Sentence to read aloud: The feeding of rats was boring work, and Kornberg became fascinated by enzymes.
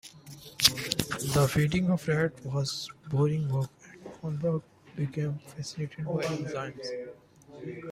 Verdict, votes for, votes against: rejected, 0, 2